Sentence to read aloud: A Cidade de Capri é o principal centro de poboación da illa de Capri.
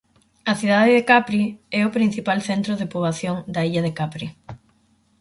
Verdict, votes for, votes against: accepted, 4, 0